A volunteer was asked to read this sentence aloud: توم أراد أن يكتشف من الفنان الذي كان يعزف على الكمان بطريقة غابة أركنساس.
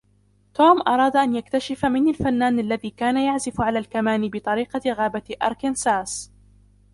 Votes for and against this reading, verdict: 2, 0, accepted